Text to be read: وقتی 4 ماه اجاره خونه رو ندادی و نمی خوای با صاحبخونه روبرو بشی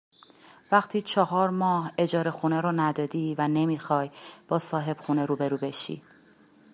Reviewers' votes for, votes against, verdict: 0, 2, rejected